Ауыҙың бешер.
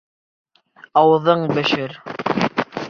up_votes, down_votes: 2, 0